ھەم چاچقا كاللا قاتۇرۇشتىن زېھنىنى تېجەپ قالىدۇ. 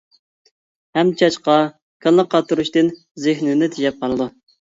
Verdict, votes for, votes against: accepted, 2, 1